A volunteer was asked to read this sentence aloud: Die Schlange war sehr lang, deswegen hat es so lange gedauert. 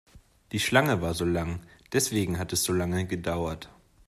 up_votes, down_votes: 1, 2